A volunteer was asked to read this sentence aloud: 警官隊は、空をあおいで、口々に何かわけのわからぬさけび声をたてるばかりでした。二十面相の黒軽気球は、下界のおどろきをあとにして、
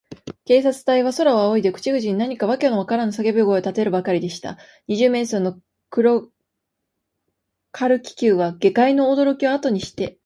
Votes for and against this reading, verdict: 1, 2, rejected